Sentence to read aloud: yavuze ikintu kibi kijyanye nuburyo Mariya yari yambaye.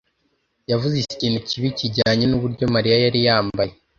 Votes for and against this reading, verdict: 2, 0, accepted